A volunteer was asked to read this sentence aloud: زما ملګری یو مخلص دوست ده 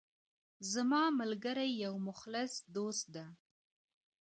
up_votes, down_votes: 1, 2